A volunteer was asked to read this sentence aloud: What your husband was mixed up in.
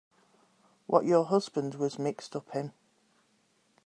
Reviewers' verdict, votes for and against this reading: accepted, 3, 0